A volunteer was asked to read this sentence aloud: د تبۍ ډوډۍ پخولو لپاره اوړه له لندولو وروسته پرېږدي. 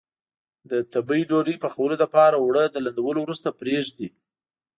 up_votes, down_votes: 2, 0